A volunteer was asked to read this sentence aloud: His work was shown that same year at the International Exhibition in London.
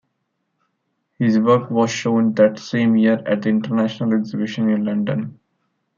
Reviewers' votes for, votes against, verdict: 2, 0, accepted